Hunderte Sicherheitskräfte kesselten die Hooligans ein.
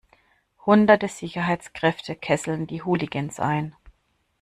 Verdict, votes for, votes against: accepted, 2, 0